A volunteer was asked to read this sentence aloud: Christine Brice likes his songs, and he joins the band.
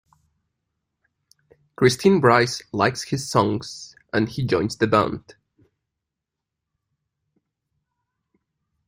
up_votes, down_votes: 2, 0